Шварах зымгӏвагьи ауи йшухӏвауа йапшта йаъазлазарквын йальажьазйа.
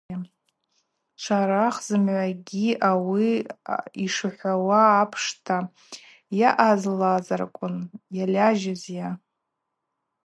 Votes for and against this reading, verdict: 0, 2, rejected